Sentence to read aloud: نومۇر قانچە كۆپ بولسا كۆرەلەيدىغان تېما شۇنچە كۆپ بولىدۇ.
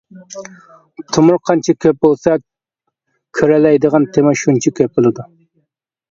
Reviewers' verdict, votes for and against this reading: rejected, 0, 2